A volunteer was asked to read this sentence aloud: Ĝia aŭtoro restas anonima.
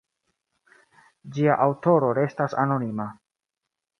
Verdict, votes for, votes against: accepted, 2, 0